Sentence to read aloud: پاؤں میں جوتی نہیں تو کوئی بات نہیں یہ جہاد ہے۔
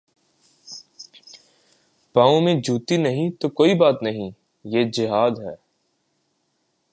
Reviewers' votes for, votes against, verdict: 2, 0, accepted